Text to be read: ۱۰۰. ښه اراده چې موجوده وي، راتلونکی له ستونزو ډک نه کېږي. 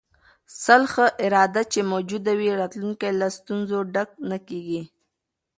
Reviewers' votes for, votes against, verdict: 0, 2, rejected